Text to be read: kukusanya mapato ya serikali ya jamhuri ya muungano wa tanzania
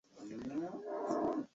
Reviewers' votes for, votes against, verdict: 0, 2, rejected